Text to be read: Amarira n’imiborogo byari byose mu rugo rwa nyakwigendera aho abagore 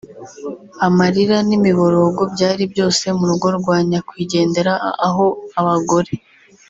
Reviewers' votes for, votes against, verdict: 3, 0, accepted